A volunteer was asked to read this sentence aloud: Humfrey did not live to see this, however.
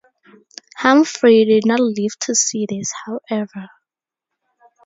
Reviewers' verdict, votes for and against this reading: accepted, 2, 0